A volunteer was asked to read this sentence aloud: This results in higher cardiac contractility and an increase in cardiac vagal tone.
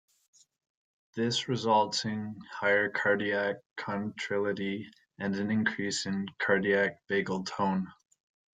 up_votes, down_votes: 1, 2